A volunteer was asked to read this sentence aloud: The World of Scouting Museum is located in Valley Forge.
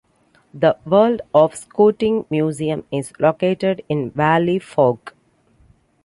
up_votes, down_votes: 0, 3